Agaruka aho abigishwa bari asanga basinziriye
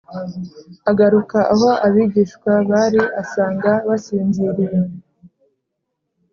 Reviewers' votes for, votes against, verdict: 2, 0, accepted